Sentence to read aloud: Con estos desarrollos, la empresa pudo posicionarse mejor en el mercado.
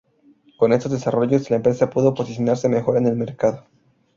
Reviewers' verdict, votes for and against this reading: accepted, 2, 0